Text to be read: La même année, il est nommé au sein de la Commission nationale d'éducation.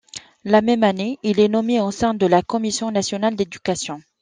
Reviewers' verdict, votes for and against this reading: accepted, 2, 0